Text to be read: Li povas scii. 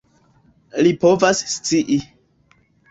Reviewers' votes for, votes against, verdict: 2, 0, accepted